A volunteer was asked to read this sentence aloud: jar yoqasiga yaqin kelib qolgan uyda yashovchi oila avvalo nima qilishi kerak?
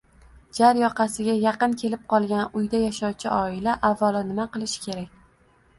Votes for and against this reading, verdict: 2, 1, accepted